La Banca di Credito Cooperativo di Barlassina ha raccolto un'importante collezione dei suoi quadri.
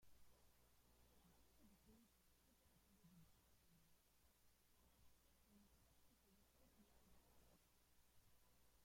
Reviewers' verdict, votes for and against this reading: rejected, 0, 2